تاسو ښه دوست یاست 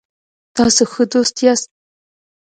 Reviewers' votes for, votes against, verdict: 2, 0, accepted